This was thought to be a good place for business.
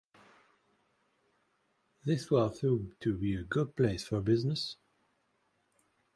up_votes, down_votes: 1, 2